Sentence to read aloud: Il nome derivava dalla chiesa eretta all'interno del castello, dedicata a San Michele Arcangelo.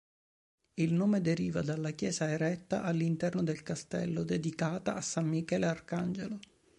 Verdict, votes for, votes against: accepted, 2, 0